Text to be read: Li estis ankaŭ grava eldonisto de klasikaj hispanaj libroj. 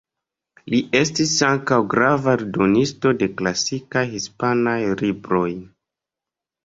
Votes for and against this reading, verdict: 2, 1, accepted